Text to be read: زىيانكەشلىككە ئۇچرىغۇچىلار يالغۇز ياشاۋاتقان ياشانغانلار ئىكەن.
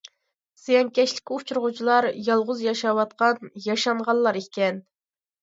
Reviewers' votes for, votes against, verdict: 2, 0, accepted